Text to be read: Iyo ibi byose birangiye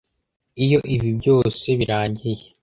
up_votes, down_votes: 2, 0